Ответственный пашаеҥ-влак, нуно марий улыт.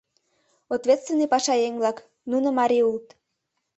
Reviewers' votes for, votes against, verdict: 2, 0, accepted